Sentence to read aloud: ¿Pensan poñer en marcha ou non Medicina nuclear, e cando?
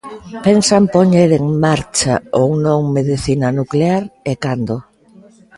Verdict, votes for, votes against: accepted, 2, 0